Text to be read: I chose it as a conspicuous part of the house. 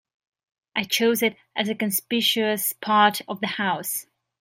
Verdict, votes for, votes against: rejected, 0, 2